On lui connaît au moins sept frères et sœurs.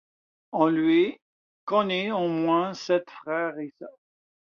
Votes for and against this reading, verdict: 2, 0, accepted